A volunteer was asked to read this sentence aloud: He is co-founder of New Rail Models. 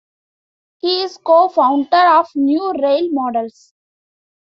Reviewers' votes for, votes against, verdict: 2, 0, accepted